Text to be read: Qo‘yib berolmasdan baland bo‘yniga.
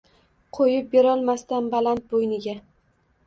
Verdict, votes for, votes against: accepted, 2, 0